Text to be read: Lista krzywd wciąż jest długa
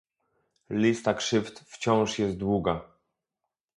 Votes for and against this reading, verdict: 2, 0, accepted